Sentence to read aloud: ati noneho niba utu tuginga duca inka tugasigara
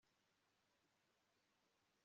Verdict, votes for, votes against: rejected, 0, 2